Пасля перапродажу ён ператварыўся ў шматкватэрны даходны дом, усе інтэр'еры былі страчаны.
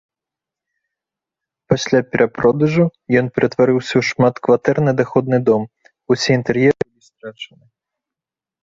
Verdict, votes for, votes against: rejected, 1, 3